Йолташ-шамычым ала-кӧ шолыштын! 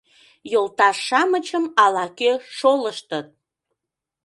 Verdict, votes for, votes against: rejected, 0, 2